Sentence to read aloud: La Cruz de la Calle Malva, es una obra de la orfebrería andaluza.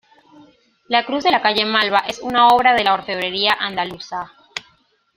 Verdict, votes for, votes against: accepted, 2, 0